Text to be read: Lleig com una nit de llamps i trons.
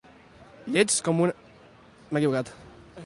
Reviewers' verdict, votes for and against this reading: rejected, 0, 2